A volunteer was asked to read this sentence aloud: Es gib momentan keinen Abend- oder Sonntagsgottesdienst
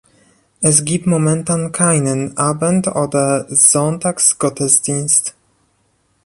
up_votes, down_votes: 2, 1